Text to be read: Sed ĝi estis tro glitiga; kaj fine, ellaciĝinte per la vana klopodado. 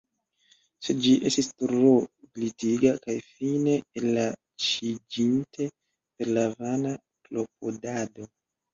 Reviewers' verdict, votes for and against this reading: rejected, 0, 2